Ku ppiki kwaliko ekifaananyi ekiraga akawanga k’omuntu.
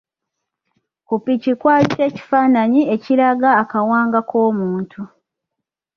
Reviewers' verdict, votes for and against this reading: accepted, 2, 0